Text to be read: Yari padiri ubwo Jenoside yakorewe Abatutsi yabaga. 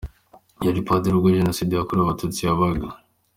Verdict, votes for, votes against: rejected, 1, 2